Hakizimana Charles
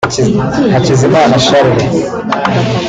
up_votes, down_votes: 2, 0